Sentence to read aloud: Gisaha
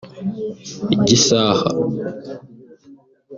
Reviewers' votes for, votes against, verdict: 1, 2, rejected